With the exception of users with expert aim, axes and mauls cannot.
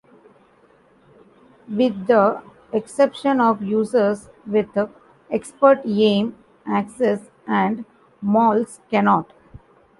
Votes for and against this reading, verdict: 0, 2, rejected